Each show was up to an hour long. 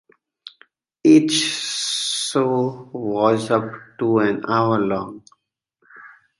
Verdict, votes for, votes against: rejected, 1, 2